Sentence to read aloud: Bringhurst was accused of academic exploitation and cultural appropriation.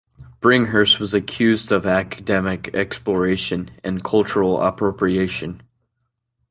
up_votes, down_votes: 1, 2